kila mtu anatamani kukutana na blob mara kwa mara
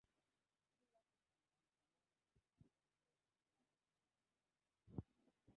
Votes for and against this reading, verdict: 0, 2, rejected